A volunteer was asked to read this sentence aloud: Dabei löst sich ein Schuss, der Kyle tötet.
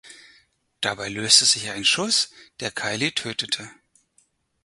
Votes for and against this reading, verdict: 0, 4, rejected